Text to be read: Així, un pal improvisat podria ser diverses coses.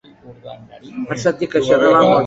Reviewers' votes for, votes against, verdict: 0, 2, rejected